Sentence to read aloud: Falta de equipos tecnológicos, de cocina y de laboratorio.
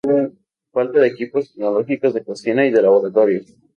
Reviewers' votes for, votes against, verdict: 2, 2, rejected